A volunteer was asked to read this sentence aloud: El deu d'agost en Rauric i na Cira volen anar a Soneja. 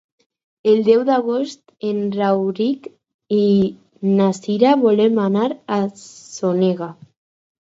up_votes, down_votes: 2, 2